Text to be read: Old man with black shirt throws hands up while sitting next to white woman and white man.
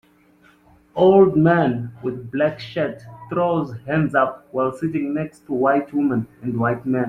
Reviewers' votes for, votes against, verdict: 2, 0, accepted